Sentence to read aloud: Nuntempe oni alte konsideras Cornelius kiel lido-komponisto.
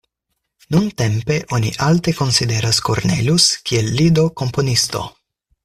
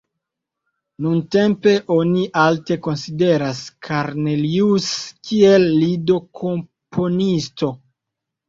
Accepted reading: first